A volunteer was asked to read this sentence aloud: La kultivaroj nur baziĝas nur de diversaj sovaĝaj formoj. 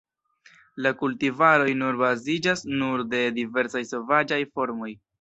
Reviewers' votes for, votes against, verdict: 2, 0, accepted